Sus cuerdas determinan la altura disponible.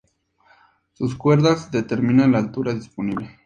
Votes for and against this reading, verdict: 2, 0, accepted